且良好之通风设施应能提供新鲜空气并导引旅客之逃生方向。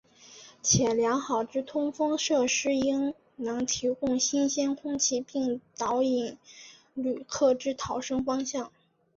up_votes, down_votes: 2, 1